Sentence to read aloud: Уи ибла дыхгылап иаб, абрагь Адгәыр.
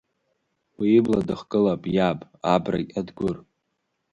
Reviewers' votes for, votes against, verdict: 1, 2, rejected